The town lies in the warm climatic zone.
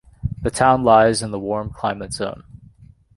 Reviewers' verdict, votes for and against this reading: rejected, 1, 2